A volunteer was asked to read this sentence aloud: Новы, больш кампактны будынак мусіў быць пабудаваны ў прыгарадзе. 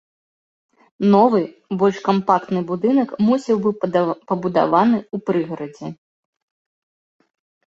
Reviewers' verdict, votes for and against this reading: rejected, 0, 2